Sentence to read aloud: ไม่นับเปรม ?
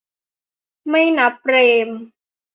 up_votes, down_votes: 3, 0